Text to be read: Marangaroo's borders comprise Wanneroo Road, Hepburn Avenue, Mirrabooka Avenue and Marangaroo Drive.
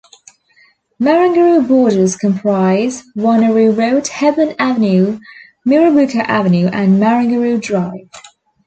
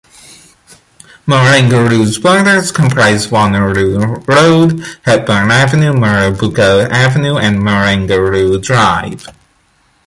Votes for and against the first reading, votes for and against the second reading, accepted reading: 1, 2, 2, 0, second